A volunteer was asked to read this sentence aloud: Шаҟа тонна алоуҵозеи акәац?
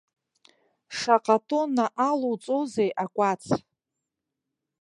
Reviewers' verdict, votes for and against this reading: accepted, 2, 0